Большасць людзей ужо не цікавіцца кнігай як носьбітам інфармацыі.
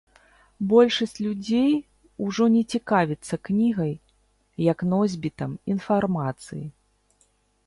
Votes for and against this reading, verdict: 2, 0, accepted